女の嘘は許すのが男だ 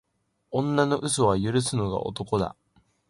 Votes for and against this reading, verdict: 2, 0, accepted